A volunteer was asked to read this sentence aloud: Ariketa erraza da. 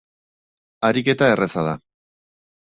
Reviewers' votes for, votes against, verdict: 4, 0, accepted